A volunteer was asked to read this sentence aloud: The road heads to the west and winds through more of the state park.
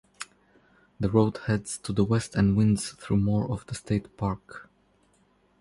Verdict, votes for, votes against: rejected, 0, 2